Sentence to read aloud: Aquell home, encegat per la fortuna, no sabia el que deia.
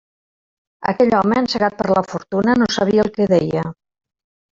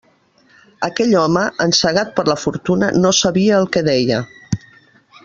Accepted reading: second